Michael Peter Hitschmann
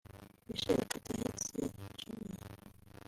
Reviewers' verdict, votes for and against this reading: rejected, 2, 3